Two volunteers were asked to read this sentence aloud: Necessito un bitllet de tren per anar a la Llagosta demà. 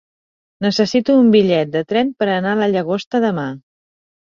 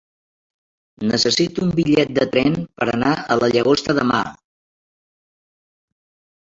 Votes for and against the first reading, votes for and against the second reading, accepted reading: 3, 0, 2, 5, first